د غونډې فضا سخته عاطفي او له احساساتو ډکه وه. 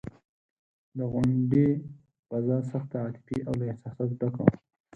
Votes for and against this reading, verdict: 4, 8, rejected